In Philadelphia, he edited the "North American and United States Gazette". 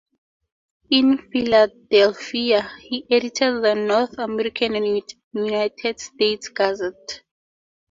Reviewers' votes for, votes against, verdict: 0, 2, rejected